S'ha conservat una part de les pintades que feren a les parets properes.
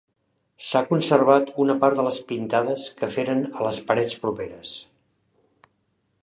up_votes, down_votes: 3, 0